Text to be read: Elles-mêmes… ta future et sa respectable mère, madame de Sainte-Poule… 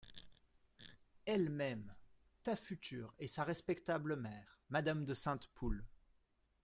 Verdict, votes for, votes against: accepted, 2, 0